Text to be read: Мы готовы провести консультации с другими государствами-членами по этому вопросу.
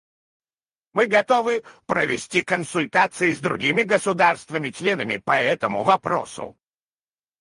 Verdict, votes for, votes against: rejected, 2, 4